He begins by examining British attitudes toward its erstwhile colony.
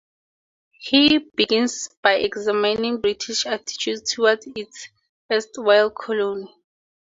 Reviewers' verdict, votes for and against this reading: rejected, 2, 2